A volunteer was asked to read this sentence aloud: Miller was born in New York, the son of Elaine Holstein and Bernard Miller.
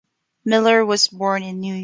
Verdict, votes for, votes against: rejected, 1, 2